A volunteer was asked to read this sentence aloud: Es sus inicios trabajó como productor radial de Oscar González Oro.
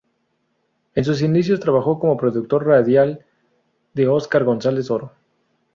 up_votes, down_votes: 4, 0